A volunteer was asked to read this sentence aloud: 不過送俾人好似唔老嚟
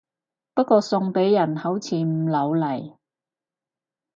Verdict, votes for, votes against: accepted, 4, 0